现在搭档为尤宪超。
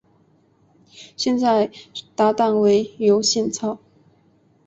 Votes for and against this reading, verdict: 6, 0, accepted